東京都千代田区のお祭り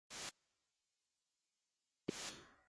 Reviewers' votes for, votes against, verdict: 0, 2, rejected